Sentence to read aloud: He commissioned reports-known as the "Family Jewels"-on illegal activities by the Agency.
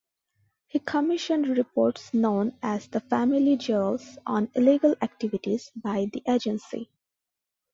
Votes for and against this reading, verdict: 2, 0, accepted